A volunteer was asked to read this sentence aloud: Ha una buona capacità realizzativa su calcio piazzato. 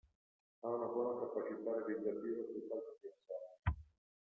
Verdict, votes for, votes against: rejected, 1, 2